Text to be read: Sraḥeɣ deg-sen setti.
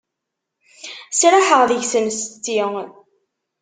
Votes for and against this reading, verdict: 2, 0, accepted